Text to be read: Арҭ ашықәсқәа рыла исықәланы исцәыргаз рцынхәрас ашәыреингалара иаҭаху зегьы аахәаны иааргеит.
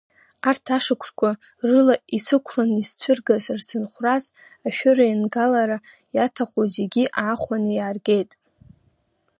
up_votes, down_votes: 1, 2